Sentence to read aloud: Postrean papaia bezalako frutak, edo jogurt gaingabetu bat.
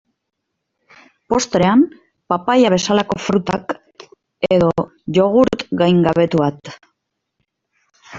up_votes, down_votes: 0, 2